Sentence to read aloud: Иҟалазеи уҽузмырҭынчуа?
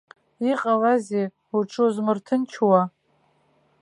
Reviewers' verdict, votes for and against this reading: accepted, 2, 0